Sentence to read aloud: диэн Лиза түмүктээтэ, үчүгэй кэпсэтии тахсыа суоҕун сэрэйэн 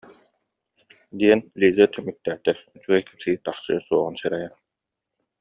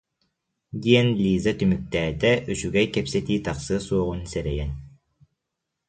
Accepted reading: second